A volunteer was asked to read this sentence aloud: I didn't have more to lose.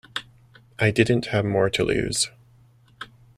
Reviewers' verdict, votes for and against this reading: accepted, 2, 0